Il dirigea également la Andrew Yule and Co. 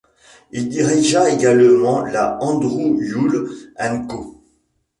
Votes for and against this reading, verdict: 2, 0, accepted